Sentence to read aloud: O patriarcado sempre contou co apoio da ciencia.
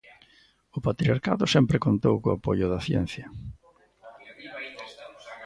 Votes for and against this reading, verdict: 2, 1, accepted